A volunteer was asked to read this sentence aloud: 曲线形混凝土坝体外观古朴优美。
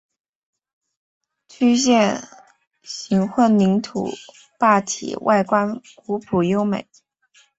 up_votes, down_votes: 0, 2